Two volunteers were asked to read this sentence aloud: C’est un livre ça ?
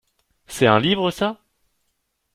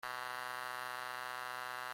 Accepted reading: first